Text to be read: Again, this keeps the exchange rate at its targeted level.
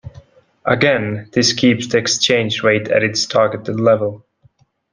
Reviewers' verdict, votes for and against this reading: accepted, 2, 0